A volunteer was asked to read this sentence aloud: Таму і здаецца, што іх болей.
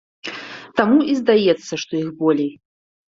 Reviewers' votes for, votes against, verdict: 2, 0, accepted